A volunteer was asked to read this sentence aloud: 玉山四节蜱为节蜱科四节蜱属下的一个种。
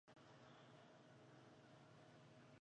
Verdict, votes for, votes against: accepted, 2, 1